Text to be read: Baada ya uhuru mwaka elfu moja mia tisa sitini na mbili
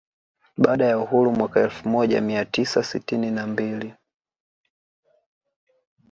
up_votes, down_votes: 2, 1